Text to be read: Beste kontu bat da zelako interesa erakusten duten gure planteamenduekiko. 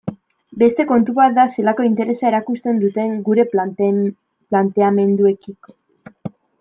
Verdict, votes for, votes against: rejected, 1, 2